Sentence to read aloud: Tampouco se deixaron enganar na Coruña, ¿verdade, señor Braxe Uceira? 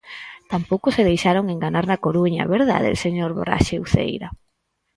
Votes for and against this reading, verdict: 4, 0, accepted